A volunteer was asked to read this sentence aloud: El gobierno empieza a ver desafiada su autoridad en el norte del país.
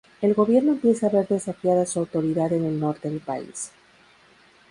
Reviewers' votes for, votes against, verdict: 2, 2, rejected